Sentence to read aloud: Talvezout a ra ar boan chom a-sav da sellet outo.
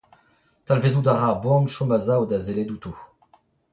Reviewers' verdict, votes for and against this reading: rejected, 0, 2